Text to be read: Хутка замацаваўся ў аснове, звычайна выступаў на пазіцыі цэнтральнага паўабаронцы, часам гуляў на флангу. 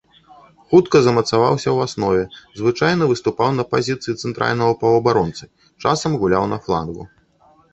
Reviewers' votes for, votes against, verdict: 1, 2, rejected